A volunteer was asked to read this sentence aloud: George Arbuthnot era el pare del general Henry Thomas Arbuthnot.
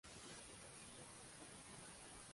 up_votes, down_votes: 0, 2